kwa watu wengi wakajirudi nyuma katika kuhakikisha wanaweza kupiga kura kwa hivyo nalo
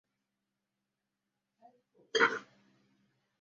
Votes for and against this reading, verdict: 0, 2, rejected